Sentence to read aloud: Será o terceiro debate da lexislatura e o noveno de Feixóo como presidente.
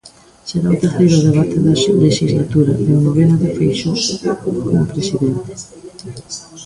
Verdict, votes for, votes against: rejected, 0, 2